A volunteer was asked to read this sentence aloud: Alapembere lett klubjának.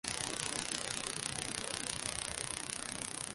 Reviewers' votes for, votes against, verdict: 0, 2, rejected